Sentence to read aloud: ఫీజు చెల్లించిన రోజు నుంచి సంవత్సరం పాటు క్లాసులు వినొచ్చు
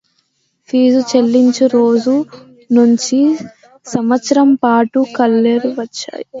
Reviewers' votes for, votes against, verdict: 0, 2, rejected